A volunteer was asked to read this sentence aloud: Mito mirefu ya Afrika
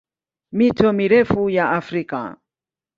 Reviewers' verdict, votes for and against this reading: accepted, 14, 3